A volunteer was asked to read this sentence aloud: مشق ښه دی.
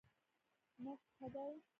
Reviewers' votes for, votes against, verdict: 0, 2, rejected